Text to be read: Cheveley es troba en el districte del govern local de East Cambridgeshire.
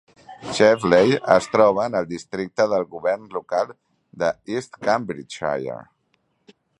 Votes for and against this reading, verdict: 3, 0, accepted